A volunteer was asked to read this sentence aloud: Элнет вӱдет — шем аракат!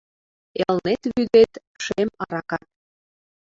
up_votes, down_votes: 1, 2